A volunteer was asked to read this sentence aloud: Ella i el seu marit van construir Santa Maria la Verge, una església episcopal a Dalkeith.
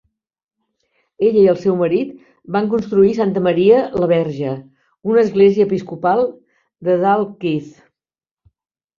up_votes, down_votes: 0, 2